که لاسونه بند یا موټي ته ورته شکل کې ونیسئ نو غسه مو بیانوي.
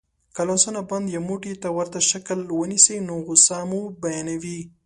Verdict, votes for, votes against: rejected, 1, 2